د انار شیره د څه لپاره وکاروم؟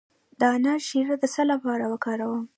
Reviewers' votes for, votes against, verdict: 2, 1, accepted